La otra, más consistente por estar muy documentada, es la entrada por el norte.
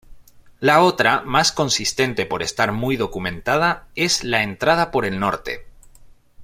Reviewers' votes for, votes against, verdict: 2, 0, accepted